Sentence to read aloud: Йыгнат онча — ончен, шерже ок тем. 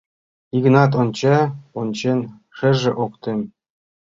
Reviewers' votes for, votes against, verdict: 1, 2, rejected